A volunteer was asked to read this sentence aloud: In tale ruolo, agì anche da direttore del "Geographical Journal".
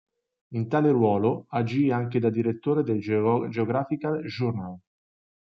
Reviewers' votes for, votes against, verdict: 0, 2, rejected